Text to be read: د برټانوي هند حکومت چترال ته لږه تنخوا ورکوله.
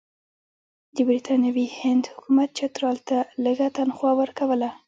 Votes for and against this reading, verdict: 2, 0, accepted